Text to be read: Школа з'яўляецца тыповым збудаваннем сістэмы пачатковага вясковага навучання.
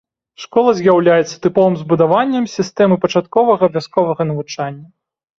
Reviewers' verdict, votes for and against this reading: accepted, 2, 0